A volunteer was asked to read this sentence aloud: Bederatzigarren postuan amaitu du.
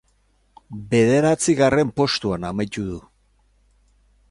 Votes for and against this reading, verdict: 2, 2, rejected